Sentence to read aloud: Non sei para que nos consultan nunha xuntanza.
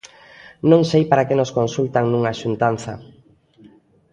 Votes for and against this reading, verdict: 2, 0, accepted